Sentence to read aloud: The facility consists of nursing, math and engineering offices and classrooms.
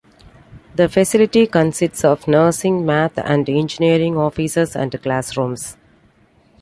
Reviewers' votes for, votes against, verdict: 2, 0, accepted